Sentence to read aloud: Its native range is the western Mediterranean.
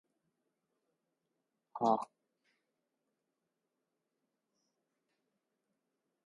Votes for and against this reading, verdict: 0, 4, rejected